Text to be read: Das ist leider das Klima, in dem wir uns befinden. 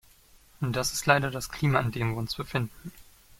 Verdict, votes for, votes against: accepted, 2, 1